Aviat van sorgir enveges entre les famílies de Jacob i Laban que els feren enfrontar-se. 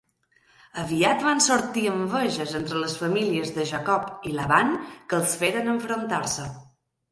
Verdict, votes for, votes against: rejected, 1, 2